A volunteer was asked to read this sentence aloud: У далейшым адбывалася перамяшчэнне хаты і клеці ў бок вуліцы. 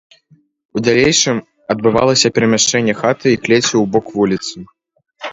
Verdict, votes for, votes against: accepted, 2, 0